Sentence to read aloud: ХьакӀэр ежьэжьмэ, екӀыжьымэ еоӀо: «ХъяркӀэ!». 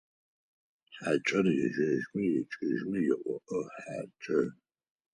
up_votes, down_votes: 0, 4